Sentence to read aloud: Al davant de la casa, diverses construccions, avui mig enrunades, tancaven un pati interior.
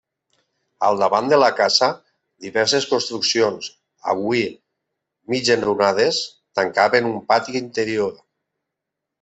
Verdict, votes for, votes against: accepted, 2, 0